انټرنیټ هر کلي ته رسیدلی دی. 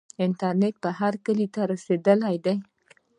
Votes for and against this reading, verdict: 1, 2, rejected